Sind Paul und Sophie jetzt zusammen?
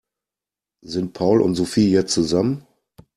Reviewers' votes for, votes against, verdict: 2, 0, accepted